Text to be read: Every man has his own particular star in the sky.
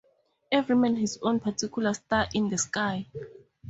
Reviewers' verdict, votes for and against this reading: rejected, 0, 2